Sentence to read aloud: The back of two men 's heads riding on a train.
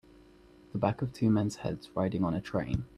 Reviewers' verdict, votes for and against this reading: accepted, 2, 0